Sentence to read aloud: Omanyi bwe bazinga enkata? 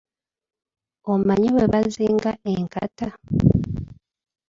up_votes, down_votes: 0, 2